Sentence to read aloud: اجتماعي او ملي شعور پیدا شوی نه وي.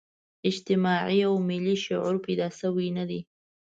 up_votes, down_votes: 1, 2